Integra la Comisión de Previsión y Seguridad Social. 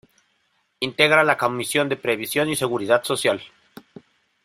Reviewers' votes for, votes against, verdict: 1, 2, rejected